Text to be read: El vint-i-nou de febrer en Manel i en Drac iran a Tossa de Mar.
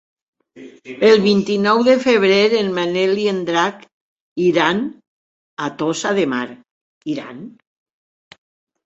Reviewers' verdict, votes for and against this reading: rejected, 0, 2